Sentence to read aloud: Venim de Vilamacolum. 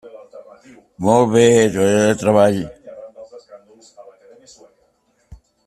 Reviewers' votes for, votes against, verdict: 0, 2, rejected